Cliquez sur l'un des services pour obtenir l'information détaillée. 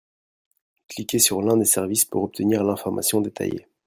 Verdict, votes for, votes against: accepted, 2, 0